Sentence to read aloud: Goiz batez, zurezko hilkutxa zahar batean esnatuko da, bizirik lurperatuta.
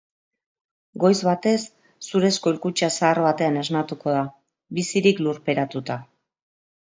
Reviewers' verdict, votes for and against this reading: rejected, 0, 2